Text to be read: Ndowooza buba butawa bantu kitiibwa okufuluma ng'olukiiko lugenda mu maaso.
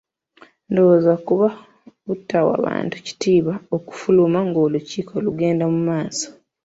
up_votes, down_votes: 1, 2